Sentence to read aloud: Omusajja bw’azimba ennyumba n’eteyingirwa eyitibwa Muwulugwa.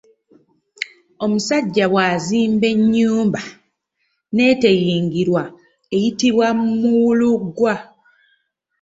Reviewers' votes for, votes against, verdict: 2, 1, accepted